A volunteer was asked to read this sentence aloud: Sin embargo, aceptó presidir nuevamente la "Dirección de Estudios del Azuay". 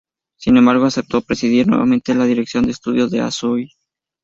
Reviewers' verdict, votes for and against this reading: rejected, 0, 2